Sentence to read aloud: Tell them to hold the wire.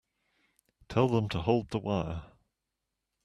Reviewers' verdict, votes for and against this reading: accepted, 2, 0